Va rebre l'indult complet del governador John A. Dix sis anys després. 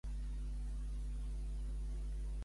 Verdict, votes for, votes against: rejected, 0, 2